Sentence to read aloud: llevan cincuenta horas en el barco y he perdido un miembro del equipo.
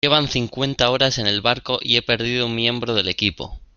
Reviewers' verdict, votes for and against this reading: accepted, 2, 0